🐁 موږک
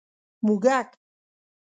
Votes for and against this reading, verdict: 2, 0, accepted